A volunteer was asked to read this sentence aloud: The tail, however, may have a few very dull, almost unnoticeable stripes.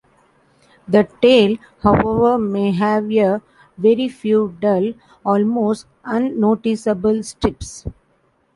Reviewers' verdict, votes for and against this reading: rejected, 0, 2